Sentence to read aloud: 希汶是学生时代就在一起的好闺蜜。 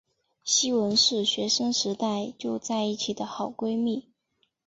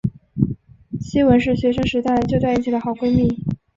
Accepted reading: second